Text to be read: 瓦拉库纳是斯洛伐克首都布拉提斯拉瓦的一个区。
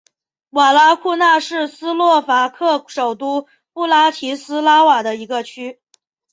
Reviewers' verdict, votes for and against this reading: accepted, 3, 0